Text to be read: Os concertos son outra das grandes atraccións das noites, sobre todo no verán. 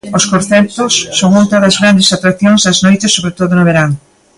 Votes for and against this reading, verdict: 2, 3, rejected